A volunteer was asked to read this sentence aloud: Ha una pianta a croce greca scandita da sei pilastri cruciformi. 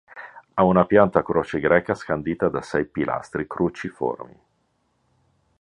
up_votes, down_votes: 2, 0